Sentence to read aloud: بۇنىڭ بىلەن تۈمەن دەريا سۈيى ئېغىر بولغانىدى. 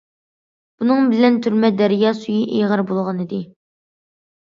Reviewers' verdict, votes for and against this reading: rejected, 0, 2